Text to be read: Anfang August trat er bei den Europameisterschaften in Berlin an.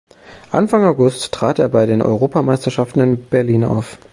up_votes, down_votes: 0, 2